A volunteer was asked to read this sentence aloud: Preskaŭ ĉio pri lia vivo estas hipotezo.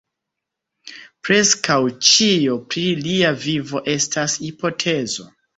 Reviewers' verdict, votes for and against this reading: accepted, 2, 0